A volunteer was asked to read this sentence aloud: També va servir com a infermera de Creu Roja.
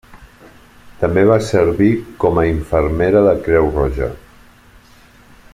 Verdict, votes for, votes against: accepted, 3, 0